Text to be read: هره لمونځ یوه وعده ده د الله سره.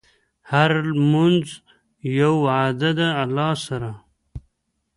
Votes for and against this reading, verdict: 2, 1, accepted